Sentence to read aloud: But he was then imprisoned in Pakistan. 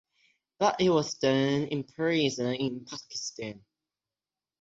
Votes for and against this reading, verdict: 0, 6, rejected